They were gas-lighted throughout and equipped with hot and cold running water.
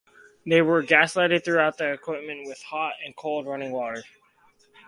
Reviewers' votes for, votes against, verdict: 4, 0, accepted